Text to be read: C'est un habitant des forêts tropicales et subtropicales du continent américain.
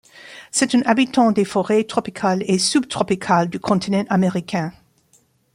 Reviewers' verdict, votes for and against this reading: rejected, 0, 2